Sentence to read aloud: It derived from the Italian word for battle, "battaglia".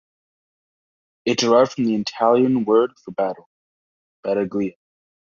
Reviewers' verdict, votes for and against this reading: rejected, 0, 2